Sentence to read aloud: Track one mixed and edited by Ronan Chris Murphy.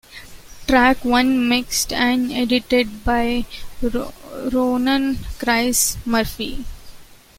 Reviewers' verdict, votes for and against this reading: rejected, 0, 2